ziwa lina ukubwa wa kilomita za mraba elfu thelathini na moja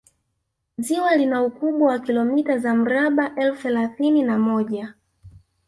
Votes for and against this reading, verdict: 2, 1, accepted